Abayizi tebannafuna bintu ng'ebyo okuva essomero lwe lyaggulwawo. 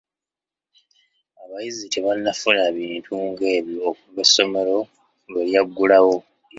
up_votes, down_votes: 2, 1